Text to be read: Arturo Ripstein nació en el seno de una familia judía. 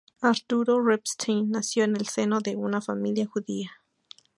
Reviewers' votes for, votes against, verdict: 0, 2, rejected